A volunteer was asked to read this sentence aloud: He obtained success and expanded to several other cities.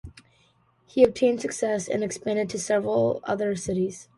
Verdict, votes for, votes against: accepted, 2, 1